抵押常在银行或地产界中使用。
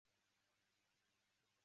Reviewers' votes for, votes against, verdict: 0, 3, rejected